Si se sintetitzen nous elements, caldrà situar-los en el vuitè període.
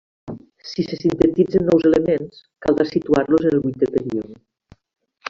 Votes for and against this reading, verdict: 1, 2, rejected